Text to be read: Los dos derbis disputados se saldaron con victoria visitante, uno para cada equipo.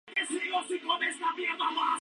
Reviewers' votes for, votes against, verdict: 0, 2, rejected